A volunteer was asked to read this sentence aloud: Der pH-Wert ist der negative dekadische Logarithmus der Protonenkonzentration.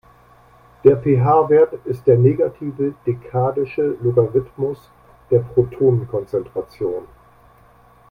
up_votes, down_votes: 2, 0